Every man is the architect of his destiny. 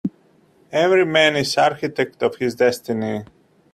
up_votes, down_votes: 0, 2